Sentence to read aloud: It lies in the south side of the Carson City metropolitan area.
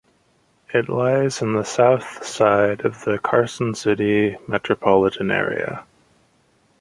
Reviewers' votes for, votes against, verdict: 4, 1, accepted